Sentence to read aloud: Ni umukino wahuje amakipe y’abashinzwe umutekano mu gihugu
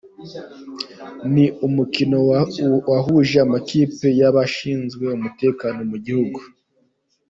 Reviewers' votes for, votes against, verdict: 2, 1, accepted